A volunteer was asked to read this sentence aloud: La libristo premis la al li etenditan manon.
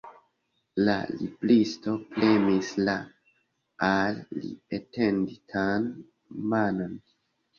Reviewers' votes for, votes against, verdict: 0, 2, rejected